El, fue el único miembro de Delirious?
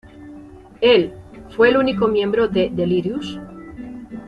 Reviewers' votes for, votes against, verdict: 2, 0, accepted